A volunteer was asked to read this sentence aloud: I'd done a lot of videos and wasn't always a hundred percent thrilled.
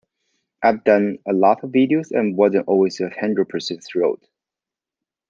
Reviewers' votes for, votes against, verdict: 2, 1, accepted